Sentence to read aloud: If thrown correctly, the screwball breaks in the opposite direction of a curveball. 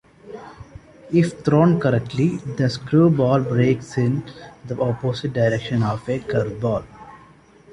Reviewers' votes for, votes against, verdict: 2, 0, accepted